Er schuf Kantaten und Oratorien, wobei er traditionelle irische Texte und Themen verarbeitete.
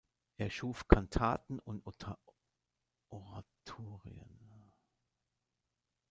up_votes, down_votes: 0, 2